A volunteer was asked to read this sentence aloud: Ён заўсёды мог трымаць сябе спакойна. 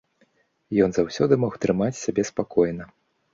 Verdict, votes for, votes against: accepted, 2, 0